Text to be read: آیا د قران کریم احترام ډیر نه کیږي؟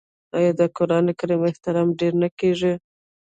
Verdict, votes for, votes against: rejected, 0, 2